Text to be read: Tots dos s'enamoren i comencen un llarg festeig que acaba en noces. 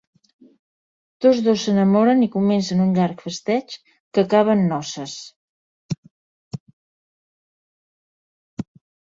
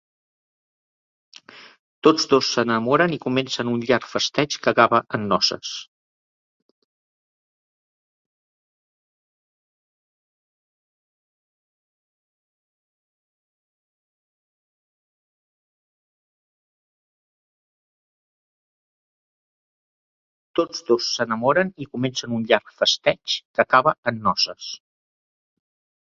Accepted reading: first